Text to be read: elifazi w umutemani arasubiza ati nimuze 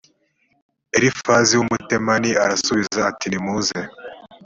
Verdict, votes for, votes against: accepted, 2, 0